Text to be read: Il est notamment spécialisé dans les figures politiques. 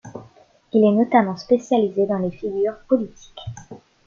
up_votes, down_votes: 2, 0